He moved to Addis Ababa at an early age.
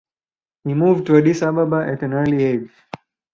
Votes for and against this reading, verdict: 2, 2, rejected